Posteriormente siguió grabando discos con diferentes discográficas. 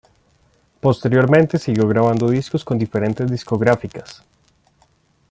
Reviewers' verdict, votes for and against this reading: accepted, 2, 0